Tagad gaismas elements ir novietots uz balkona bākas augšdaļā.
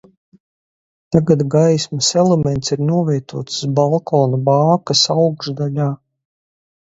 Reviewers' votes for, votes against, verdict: 2, 2, rejected